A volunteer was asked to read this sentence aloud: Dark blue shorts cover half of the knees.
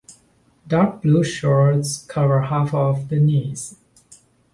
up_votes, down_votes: 2, 0